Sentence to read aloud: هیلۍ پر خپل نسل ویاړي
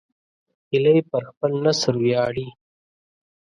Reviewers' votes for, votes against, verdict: 2, 0, accepted